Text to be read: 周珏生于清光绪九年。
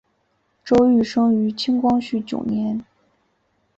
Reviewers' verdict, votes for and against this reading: accepted, 2, 0